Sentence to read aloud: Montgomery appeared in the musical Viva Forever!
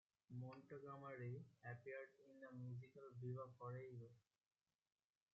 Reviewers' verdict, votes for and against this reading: rejected, 1, 2